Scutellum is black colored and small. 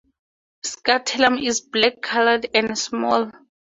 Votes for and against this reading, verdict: 4, 0, accepted